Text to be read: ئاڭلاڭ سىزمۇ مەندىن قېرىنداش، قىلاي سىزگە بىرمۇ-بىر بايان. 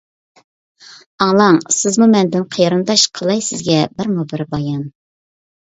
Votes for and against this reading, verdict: 2, 0, accepted